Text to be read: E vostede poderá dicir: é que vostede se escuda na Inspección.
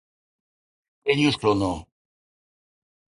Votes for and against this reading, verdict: 0, 2, rejected